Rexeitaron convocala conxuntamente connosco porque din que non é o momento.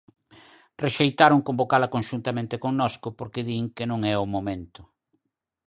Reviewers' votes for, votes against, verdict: 4, 0, accepted